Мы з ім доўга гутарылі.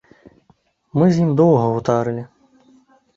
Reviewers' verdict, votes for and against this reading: rejected, 1, 2